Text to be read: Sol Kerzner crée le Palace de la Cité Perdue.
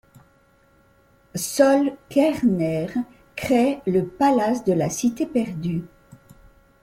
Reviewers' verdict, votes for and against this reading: accepted, 2, 0